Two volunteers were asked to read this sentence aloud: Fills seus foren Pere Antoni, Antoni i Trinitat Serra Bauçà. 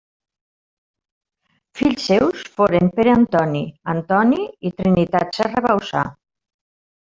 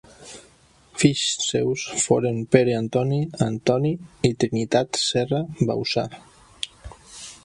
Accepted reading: second